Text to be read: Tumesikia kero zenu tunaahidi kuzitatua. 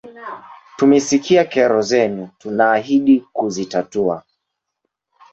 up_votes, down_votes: 2, 0